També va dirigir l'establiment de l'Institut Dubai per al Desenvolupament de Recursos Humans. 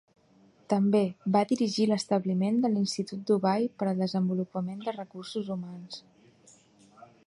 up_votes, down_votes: 2, 0